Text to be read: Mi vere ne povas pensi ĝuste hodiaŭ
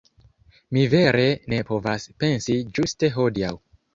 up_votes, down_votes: 0, 2